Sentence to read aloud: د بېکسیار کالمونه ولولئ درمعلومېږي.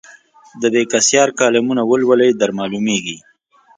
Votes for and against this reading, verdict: 2, 0, accepted